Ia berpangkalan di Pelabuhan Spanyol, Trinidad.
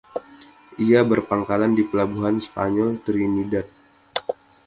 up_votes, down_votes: 2, 0